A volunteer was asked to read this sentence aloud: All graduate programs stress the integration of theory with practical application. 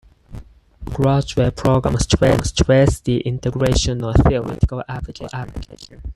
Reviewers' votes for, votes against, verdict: 2, 4, rejected